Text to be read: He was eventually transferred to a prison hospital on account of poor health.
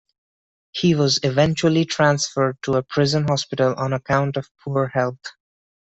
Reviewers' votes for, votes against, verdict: 2, 0, accepted